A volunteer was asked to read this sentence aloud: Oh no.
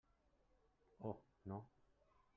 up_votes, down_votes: 0, 2